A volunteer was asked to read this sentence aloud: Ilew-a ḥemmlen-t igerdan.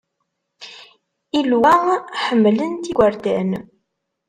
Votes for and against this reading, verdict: 1, 2, rejected